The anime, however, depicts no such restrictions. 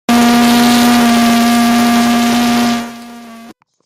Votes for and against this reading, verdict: 0, 2, rejected